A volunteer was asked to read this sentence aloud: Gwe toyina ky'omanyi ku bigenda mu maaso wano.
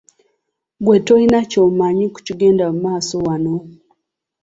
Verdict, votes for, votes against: accepted, 2, 1